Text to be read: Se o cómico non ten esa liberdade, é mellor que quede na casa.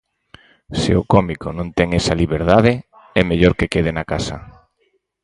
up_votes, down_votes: 4, 0